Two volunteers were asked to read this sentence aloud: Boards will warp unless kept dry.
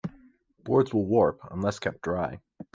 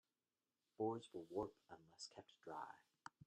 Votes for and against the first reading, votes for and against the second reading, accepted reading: 2, 0, 0, 2, first